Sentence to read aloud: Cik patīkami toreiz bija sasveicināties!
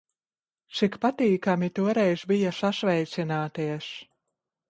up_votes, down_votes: 1, 2